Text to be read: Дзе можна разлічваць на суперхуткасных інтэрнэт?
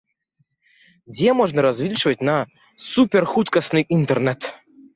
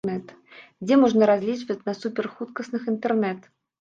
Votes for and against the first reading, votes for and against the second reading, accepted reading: 2, 0, 0, 2, first